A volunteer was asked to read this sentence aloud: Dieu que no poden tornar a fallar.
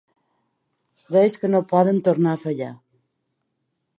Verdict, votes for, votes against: rejected, 0, 2